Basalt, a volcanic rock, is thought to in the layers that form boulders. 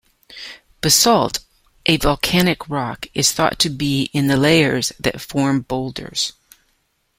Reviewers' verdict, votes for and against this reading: rejected, 1, 2